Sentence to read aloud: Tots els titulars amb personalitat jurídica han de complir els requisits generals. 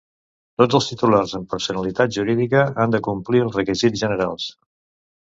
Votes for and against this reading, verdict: 2, 0, accepted